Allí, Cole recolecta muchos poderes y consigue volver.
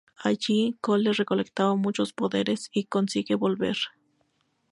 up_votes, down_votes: 0, 2